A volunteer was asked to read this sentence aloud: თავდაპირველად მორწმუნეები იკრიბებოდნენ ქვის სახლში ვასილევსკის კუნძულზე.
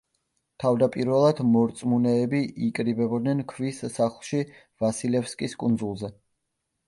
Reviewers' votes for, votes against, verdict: 2, 0, accepted